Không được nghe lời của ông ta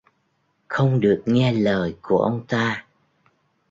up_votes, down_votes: 2, 0